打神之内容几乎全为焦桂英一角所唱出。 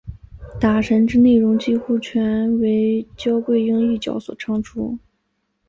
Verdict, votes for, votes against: accepted, 2, 0